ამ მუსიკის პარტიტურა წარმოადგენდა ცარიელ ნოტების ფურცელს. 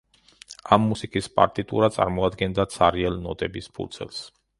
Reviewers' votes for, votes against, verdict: 2, 0, accepted